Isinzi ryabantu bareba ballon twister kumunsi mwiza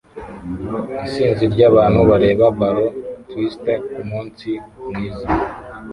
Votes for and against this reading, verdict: 1, 2, rejected